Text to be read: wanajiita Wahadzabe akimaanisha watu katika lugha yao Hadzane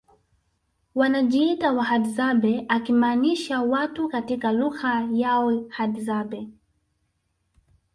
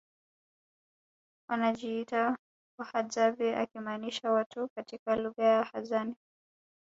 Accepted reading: second